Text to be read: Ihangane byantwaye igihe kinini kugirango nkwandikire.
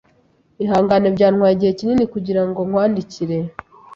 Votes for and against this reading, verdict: 3, 0, accepted